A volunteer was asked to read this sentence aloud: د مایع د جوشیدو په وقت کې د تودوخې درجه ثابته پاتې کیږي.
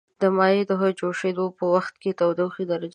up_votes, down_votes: 0, 2